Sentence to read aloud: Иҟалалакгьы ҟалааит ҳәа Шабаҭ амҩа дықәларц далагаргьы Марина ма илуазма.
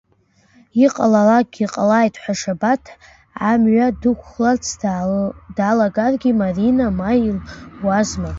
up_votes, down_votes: 1, 2